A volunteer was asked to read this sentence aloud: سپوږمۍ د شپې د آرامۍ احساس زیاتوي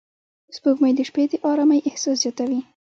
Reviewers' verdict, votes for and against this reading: accepted, 2, 0